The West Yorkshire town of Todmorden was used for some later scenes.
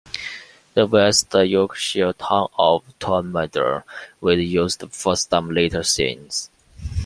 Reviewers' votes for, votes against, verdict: 1, 2, rejected